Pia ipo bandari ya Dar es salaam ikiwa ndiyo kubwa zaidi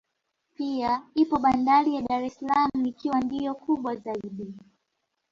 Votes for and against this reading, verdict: 2, 0, accepted